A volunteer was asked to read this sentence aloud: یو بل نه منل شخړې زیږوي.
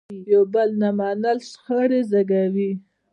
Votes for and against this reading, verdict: 2, 0, accepted